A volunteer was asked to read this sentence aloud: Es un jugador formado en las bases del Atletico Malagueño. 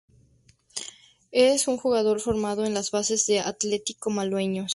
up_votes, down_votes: 0, 2